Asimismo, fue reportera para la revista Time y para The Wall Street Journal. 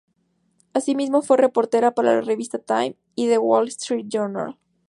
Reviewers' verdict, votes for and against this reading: rejected, 0, 2